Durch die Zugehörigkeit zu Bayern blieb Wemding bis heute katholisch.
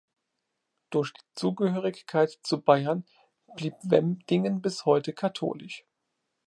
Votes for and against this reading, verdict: 0, 2, rejected